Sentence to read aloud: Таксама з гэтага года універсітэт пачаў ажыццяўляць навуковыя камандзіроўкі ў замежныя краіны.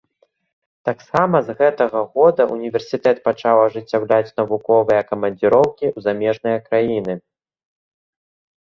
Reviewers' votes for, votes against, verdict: 2, 0, accepted